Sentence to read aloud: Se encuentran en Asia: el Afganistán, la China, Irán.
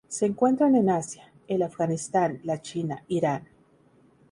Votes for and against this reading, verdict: 0, 2, rejected